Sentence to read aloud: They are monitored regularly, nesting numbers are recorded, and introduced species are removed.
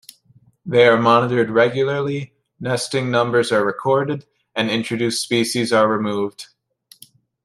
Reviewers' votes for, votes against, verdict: 2, 0, accepted